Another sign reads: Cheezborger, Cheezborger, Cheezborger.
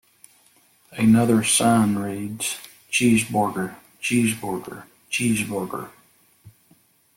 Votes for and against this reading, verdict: 2, 0, accepted